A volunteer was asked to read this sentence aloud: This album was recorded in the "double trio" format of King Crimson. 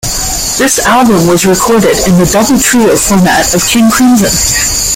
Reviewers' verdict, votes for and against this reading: accepted, 2, 1